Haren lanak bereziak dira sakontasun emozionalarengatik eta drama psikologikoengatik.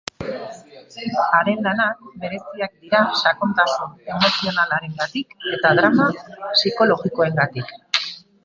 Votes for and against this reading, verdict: 0, 2, rejected